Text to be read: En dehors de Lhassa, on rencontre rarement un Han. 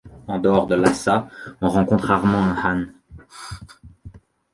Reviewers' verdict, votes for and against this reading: rejected, 0, 2